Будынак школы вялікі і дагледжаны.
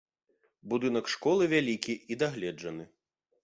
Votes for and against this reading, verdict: 2, 0, accepted